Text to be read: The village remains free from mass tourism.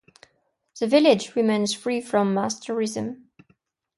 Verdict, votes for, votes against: accepted, 2, 0